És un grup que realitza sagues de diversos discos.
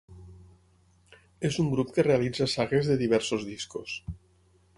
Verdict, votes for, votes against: accepted, 6, 0